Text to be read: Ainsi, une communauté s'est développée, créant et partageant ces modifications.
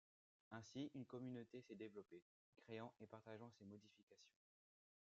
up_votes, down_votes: 1, 2